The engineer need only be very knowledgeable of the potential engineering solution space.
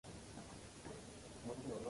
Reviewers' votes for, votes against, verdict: 0, 2, rejected